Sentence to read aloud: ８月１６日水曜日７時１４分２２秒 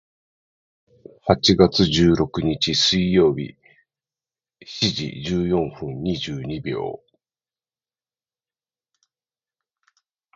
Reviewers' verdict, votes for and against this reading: rejected, 0, 2